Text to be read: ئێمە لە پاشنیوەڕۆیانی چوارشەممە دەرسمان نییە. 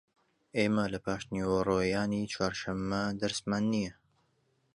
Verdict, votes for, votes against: accepted, 2, 0